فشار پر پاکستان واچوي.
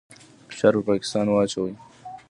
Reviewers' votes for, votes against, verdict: 1, 2, rejected